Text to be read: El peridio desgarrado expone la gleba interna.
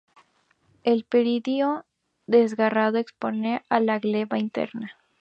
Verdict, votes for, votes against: rejected, 0, 2